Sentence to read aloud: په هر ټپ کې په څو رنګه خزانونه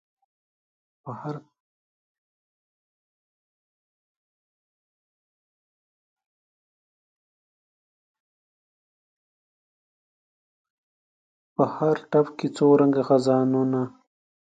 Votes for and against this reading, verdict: 0, 2, rejected